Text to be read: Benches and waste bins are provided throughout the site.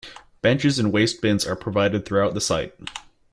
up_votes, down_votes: 2, 0